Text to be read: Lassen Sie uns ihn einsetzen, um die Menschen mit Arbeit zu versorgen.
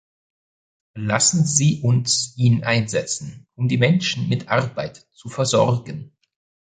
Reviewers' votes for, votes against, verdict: 2, 0, accepted